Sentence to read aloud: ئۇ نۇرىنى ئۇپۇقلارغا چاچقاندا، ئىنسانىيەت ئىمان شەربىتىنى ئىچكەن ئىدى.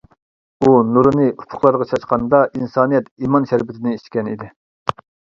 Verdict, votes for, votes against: accepted, 2, 0